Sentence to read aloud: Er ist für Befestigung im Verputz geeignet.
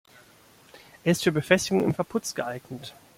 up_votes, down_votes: 2, 0